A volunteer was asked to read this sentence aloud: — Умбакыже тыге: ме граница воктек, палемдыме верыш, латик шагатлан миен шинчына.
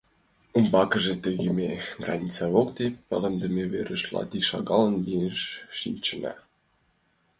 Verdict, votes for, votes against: rejected, 0, 2